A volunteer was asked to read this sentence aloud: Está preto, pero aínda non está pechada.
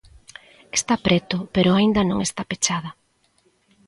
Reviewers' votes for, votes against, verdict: 2, 0, accepted